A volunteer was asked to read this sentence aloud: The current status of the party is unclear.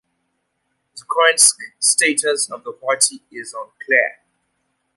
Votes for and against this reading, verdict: 1, 2, rejected